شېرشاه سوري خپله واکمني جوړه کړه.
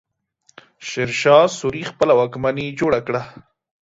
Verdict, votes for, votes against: accepted, 2, 0